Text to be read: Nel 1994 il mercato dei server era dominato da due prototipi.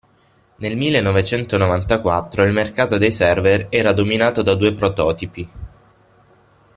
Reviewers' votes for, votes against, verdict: 0, 2, rejected